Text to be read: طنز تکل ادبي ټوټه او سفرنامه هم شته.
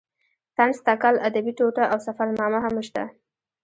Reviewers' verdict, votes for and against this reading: rejected, 1, 2